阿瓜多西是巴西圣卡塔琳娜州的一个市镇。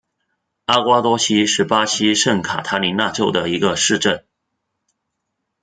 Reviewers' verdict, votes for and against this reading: accepted, 2, 1